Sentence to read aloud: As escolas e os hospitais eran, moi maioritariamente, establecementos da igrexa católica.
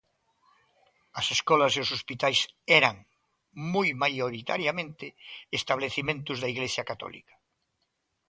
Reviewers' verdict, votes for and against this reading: accepted, 2, 0